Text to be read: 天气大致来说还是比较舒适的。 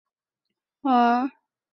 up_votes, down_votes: 0, 2